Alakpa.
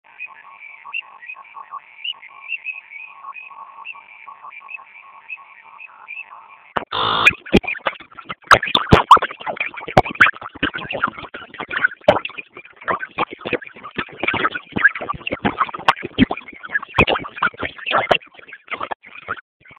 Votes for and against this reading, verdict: 0, 2, rejected